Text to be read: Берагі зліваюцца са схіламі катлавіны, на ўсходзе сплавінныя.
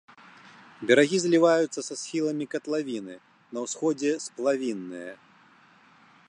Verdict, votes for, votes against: accepted, 2, 0